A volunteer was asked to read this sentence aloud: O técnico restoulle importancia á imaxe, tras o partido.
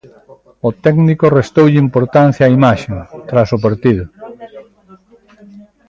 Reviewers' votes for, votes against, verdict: 1, 2, rejected